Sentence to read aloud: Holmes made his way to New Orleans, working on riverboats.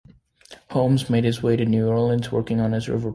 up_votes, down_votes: 2, 1